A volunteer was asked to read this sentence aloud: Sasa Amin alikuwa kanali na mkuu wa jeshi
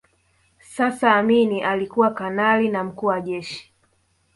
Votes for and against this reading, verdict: 3, 0, accepted